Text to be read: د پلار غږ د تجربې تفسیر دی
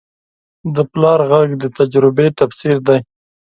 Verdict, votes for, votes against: accepted, 2, 0